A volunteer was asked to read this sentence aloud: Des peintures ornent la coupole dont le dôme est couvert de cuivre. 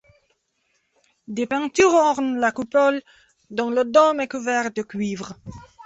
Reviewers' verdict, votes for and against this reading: rejected, 1, 2